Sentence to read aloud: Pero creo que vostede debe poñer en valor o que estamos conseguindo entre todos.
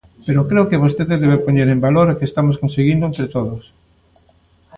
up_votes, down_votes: 2, 0